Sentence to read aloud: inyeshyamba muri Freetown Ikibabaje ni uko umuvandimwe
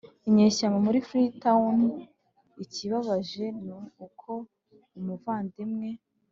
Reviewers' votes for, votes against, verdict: 2, 1, accepted